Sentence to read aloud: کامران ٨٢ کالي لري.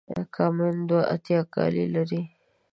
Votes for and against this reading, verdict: 0, 2, rejected